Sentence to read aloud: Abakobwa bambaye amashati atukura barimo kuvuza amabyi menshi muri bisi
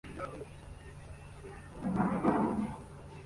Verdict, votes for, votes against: rejected, 0, 2